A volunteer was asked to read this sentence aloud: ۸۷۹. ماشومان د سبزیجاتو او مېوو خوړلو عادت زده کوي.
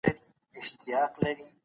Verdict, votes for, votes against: rejected, 0, 2